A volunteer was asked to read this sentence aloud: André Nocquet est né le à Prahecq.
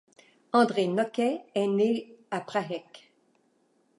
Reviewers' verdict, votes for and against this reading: rejected, 1, 2